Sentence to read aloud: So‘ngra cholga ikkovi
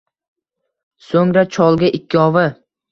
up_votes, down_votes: 1, 2